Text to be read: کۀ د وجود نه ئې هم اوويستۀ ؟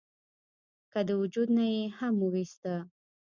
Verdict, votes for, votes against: rejected, 0, 2